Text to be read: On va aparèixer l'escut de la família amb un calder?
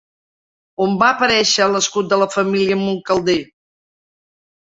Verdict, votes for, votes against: accepted, 3, 1